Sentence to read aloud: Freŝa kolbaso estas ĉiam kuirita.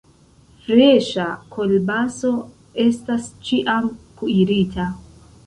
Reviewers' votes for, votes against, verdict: 2, 0, accepted